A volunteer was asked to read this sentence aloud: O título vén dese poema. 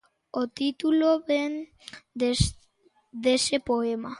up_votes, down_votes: 1, 2